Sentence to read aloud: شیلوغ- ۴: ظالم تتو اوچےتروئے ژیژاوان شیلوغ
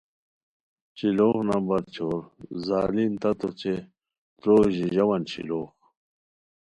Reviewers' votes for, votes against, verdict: 0, 2, rejected